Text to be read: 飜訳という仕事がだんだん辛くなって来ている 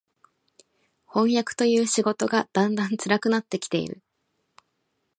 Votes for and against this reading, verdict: 8, 0, accepted